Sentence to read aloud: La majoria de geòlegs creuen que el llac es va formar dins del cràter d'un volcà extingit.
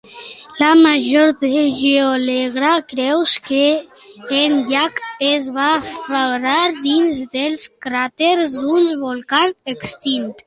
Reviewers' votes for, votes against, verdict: 1, 2, rejected